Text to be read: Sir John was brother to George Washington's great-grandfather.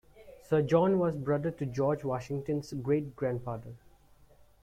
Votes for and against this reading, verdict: 2, 1, accepted